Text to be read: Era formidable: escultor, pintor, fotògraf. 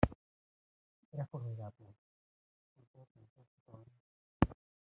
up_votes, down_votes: 0, 2